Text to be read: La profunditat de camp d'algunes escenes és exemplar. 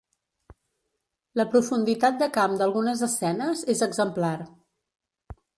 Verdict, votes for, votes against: accepted, 2, 0